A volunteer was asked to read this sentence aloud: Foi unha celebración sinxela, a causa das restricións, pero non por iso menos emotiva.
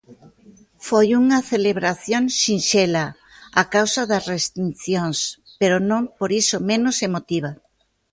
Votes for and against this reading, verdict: 0, 2, rejected